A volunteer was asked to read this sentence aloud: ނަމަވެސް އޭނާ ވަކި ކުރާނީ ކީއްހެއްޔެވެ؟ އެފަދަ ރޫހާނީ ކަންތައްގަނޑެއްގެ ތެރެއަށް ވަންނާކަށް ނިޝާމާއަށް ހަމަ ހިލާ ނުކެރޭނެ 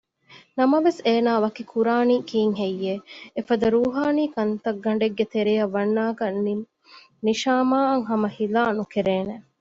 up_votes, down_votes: 2, 0